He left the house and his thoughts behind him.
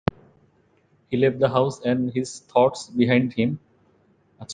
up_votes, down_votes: 0, 2